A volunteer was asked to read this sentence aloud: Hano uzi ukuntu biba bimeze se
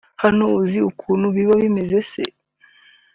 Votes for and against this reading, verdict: 1, 2, rejected